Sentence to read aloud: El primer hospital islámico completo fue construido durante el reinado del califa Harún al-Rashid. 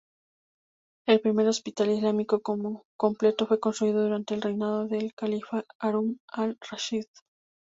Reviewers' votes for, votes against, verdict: 0, 2, rejected